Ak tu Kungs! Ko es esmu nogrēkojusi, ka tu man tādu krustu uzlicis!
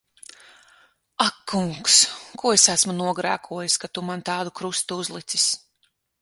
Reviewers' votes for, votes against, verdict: 0, 6, rejected